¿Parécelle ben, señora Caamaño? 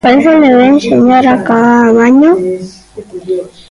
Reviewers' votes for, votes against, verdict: 0, 2, rejected